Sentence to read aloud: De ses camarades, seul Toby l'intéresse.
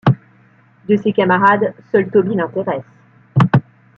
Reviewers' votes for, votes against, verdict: 2, 0, accepted